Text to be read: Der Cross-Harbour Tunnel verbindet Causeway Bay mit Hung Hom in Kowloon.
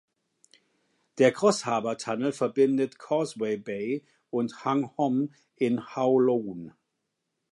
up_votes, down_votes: 0, 2